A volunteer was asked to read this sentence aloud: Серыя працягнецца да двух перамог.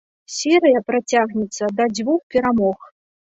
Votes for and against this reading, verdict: 0, 2, rejected